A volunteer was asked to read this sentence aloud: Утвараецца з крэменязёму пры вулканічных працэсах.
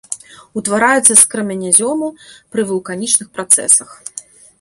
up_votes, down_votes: 2, 0